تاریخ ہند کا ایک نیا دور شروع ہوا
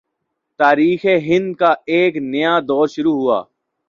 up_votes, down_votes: 2, 0